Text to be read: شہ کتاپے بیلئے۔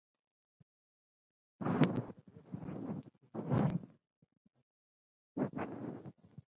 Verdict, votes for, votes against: rejected, 0, 2